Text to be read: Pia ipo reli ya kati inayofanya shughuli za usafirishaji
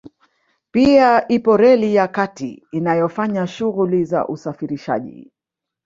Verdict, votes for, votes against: rejected, 1, 2